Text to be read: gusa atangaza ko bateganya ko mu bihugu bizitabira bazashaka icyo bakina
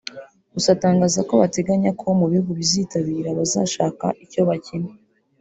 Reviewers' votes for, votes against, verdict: 0, 2, rejected